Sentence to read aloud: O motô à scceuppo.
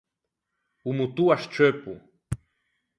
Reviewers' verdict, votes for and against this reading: accepted, 4, 0